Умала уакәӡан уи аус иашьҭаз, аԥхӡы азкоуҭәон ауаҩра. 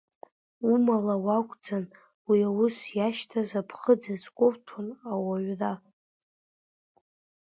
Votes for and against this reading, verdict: 0, 2, rejected